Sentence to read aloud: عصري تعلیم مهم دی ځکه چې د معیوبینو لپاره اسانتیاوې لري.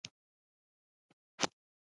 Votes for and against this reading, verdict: 0, 2, rejected